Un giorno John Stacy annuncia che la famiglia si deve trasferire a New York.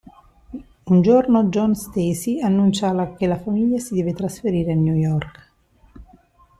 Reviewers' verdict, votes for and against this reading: rejected, 1, 2